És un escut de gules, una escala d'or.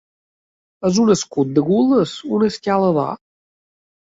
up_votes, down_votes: 2, 3